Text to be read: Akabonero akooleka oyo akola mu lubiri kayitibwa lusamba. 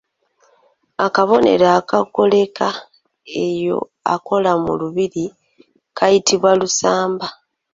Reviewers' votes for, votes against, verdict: 1, 2, rejected